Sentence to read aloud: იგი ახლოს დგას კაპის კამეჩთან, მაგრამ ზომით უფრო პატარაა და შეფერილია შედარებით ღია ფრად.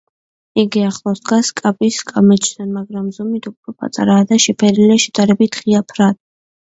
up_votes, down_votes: 2, 0